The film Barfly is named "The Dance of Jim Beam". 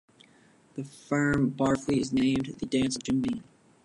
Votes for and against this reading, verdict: 0, 2, rejected